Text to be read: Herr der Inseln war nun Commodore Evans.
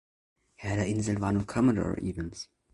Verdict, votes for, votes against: rejected, 0, 2